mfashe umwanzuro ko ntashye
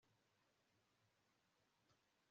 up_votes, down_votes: 1, 2